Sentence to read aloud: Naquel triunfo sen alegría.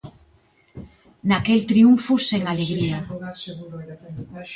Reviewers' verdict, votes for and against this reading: rejected, 0, 2